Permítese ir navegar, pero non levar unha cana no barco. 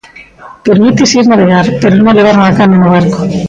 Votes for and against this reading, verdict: 2, 1, accepted